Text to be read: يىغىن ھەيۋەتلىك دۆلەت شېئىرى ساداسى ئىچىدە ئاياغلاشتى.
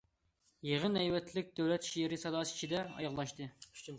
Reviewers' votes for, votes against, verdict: 2, 0, accepted